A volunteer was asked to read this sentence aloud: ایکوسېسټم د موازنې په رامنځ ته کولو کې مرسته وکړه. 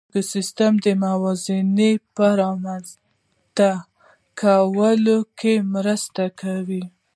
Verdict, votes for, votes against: accepted, 2, 0